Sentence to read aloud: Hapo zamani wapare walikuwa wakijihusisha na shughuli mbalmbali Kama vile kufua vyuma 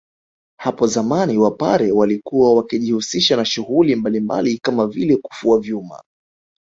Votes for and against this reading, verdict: 1, 2, rejected